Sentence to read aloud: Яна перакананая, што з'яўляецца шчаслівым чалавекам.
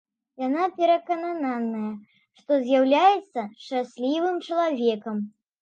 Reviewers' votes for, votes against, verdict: 0, 2, rejected